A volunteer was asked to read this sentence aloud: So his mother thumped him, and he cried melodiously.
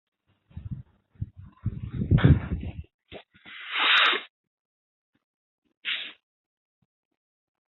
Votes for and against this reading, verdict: 0, 2, rejected